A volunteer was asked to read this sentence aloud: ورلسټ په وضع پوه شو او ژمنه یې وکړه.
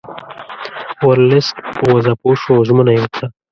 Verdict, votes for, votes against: rejected, 0, 2